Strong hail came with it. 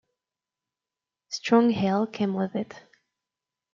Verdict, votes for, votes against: accepted, 2, 0